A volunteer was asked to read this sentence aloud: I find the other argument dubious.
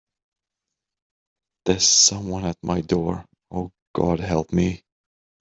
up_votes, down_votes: 0, 2